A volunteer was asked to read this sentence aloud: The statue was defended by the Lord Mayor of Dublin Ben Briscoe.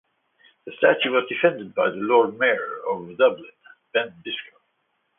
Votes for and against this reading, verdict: 2, 1, accepted